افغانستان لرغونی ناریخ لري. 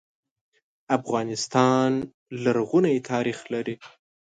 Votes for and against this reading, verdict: 2, 0, accepted